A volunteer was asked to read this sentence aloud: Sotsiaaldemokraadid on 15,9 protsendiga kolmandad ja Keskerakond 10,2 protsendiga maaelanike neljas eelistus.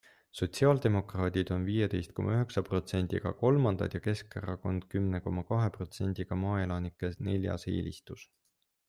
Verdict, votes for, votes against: rejected, 0, 2